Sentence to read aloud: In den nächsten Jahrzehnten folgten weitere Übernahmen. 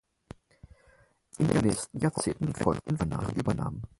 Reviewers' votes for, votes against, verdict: 0, 4, rejected